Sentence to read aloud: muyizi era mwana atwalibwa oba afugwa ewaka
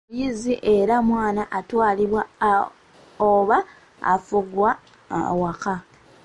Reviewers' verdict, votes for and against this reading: rejected, 0, 2